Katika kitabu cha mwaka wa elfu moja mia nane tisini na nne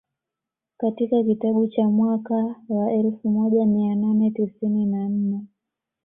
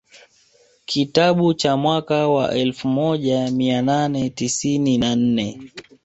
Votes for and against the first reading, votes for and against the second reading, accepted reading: 2, 0, 1, 2, first